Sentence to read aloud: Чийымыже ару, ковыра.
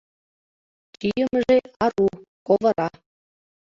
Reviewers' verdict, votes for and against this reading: accepted, 2, 1